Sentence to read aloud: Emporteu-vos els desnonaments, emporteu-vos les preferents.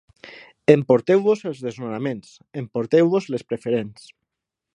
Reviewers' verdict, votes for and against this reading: accepted, 9, 0